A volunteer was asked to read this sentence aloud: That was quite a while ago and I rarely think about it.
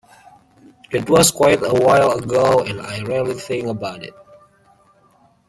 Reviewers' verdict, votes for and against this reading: accepted, 2, 0